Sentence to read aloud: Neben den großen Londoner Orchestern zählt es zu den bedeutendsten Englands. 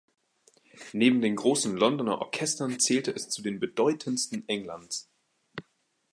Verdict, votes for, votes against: rejected, 2, 2